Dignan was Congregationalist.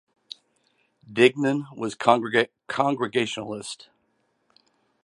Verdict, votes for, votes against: rejected, 0, 2